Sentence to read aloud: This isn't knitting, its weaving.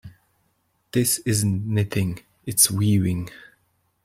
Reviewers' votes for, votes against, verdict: 2, 0, accepted